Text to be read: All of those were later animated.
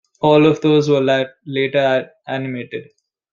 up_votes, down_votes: 1, 2